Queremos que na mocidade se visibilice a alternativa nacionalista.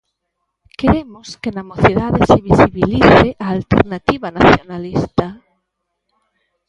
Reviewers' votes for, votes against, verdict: 0, 2, rejected